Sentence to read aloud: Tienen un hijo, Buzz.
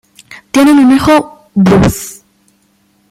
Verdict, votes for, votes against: accepted, 2, 0